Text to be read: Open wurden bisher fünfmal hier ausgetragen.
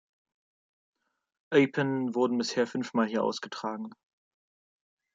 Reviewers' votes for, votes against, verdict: 1, 3, rejected